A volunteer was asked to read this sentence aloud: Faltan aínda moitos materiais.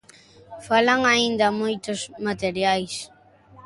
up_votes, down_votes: 0, 2